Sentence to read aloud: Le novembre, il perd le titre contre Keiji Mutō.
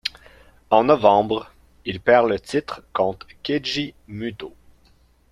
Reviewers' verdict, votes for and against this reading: rejected, 1, 2